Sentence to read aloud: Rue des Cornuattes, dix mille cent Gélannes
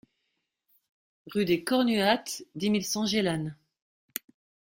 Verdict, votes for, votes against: accepted, 2, 0